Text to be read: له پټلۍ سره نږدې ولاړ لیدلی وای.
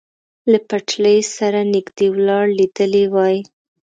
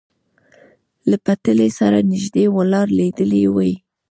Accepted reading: first